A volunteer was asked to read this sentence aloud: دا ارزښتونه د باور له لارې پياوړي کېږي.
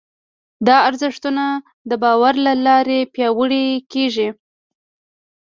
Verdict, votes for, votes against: accepted, 2, 0